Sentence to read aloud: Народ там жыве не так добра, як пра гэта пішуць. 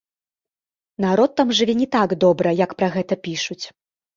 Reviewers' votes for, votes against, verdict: 1, 2, rejected